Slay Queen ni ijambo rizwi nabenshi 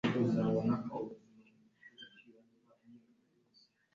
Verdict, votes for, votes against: rejected, 2, 3